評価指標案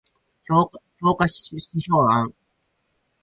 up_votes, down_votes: 2, 2